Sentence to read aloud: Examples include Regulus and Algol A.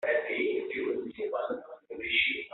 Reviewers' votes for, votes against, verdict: 0, 2, rejected